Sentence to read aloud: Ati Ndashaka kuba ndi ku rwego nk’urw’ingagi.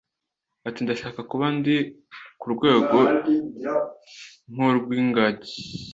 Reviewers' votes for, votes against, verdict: 2, 0, accepted